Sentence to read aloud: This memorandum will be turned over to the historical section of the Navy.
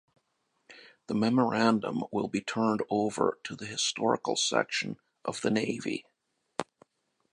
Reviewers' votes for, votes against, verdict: 1, 2, rejected